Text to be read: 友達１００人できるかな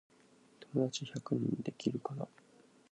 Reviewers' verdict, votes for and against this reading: rejected, 0, 2